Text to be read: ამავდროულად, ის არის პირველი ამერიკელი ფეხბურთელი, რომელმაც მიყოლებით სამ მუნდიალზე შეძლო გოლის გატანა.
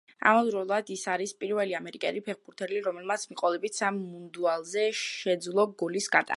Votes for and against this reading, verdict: 1, 2, rejected